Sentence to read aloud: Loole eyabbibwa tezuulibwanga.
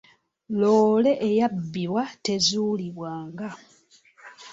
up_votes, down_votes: 2, 0